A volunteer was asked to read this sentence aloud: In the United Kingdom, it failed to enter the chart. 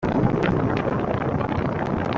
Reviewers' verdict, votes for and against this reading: rejected, 0, 2